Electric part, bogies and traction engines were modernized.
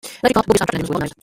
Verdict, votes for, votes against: rejected, 0, 2